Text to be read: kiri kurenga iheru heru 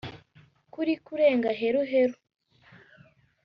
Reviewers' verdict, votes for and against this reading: rejected, 1, 2